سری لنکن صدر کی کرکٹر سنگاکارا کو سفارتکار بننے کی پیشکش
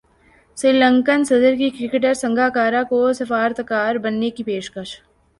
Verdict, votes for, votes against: accepted, 2, 0